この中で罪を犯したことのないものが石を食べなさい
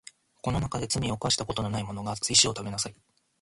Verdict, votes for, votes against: rejected, 1, 2